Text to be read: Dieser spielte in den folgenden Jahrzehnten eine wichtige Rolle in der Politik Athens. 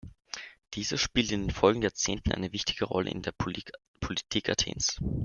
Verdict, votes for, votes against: rejected, 0, 2